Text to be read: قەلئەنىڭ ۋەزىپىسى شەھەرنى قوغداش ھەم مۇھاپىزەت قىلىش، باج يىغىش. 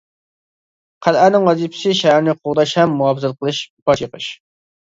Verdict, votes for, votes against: rejected, 0, 2